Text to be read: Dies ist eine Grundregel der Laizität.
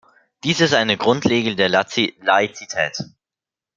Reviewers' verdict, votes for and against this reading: rejected, 0, 2